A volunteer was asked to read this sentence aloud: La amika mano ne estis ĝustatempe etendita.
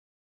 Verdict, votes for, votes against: rejected, 1, 2